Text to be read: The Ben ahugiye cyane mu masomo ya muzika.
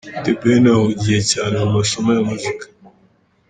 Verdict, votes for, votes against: accepted, 2, 1